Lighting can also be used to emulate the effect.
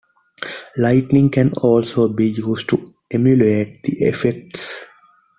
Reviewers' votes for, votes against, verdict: 0, 2, rejected